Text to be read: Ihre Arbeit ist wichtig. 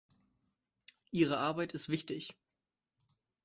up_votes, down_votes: 2, 0